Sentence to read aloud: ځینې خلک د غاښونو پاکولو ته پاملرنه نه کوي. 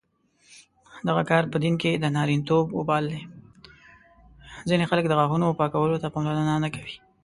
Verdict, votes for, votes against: rejected, 0, 2